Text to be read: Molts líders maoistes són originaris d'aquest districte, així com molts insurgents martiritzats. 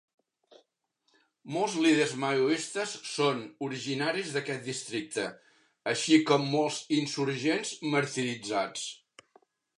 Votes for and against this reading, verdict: 1, 2, rejected